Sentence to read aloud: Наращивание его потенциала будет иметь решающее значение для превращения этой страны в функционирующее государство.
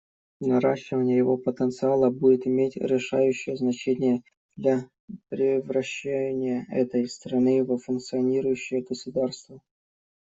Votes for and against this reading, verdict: 1, 2, rejected